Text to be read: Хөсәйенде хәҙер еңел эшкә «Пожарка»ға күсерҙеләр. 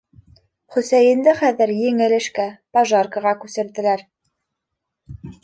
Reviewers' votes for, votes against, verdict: 2, 0, accepted